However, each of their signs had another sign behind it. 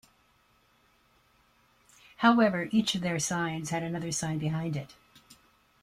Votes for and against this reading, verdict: 2, 0, accepted